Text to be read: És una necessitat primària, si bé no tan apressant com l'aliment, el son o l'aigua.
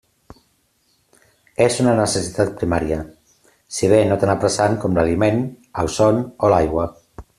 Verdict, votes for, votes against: accepted, 2, 0